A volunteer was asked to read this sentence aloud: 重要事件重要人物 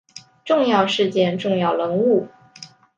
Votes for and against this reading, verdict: 2, 0, accepted